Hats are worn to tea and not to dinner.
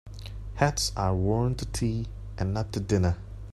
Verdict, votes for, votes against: accepted, 2, 0